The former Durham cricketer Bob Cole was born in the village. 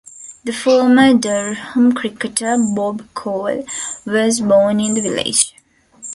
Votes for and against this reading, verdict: 2, 0, accepted